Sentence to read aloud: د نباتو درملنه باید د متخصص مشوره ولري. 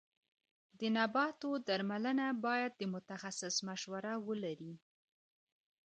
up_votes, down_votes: 1, 2